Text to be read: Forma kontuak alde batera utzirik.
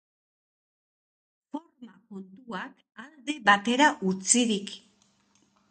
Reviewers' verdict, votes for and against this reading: rejected, 1, 4